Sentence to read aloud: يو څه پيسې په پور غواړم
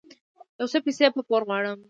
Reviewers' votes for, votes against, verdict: 2, 0, accepted